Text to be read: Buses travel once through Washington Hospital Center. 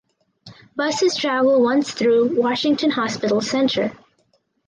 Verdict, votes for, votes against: accepted, 4, 0